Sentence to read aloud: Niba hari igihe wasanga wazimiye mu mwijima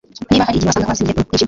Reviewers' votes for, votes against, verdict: 0, 2, rejected